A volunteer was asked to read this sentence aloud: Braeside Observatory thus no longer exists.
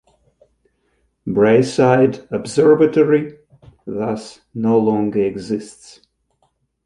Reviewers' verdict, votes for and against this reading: rejected, 0, 2